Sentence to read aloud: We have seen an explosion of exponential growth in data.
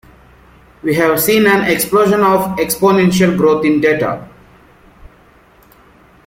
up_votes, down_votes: 2, 0